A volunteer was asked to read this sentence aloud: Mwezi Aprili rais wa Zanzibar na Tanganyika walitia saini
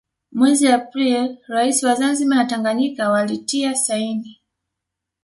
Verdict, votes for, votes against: accepted, 2, 0